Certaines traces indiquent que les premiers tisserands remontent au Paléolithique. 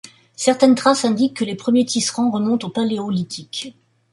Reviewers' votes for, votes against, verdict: 2, 0, accepted